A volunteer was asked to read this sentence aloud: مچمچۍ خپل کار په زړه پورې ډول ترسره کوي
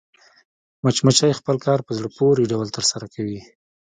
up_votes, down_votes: 2, 1